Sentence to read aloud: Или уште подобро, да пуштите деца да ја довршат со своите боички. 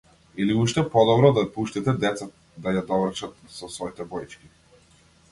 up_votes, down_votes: 2, 0